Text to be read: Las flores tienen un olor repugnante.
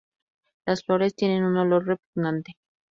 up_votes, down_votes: 2, 0